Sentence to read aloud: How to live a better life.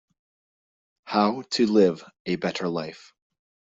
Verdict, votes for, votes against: accepted, 2, 0